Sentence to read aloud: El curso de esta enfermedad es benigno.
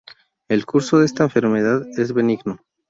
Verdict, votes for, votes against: accepted, 2, 0